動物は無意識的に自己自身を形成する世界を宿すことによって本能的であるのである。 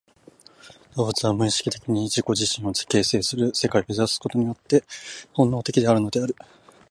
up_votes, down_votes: 0, 2